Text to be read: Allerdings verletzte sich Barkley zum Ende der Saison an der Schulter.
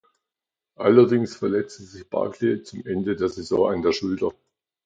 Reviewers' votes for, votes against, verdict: 2, 0, accepted